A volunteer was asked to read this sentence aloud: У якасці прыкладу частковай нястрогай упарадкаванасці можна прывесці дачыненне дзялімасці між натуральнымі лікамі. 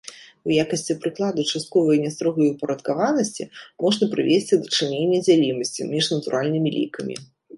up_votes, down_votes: 0, 2